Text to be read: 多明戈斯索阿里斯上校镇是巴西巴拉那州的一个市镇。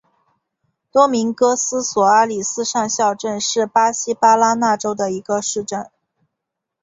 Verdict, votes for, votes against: accepted, 6, 1